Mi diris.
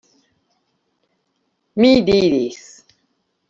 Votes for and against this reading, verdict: 2, 0, accepted